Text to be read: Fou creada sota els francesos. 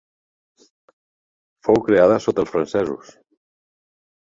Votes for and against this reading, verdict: 2, 0, accepted